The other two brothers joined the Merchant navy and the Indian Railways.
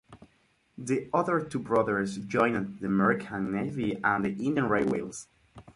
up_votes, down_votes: 2, 4